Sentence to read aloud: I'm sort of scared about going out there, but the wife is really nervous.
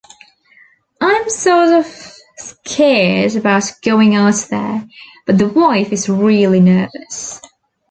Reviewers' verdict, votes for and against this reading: accepted, 2, 1